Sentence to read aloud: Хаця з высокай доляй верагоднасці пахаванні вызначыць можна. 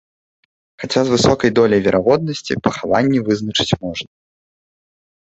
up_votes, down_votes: 2, 0